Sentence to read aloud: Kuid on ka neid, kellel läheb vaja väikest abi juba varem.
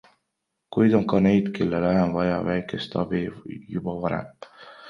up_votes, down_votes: 1, 2